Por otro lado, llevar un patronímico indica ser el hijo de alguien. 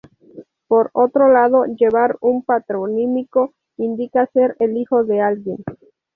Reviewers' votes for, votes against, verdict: 2, 0, accepted